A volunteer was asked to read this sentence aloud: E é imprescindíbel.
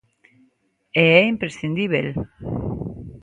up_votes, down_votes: 2, 0